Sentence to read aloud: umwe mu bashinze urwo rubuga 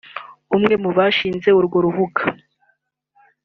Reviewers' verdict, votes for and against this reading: accepted, 2, 0